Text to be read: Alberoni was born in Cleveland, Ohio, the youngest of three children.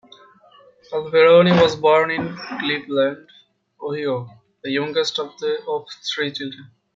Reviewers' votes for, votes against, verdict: 0, 2, rejected